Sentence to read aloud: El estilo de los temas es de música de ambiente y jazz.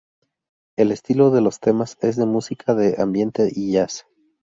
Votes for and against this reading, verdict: 2, 0, accepted